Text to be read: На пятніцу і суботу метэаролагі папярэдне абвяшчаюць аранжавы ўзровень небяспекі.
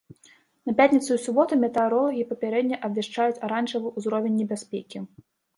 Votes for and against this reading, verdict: 2, 0, accepted